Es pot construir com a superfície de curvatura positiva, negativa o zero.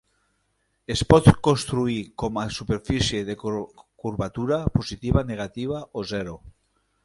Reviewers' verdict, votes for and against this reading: rejected, 1, 2